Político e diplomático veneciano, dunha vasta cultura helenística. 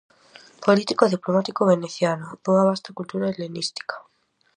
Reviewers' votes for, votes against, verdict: 4, 0, accepted